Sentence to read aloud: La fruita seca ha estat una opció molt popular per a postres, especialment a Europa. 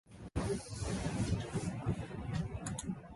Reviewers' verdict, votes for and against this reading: rejected, 0, 2